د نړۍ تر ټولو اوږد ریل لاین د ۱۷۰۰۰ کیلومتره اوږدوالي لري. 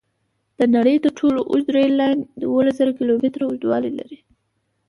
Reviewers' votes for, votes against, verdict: 0, 2, rejected